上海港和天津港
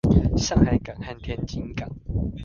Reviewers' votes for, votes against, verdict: 2, 0, accepted